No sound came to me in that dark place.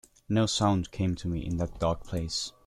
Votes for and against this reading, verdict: 2, 1, accepted